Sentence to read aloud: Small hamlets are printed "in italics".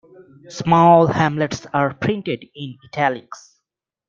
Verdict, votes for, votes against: accepted, 2, 0